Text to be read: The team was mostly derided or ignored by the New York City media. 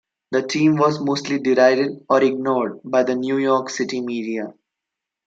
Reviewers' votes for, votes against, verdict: 2, 0, accepted